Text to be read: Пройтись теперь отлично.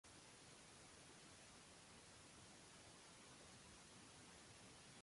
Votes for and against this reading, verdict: 0, 2, rejected